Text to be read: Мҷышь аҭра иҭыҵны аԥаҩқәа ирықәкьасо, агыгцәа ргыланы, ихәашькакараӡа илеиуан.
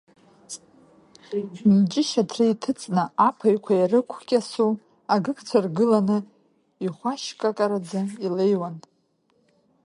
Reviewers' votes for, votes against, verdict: 2, 1, accepted